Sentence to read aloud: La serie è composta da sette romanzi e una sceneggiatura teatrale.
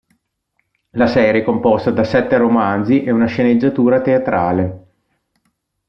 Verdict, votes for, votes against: accepted, 2, 0